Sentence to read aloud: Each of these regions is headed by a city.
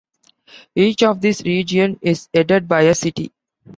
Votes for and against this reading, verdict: 0, 2, rejected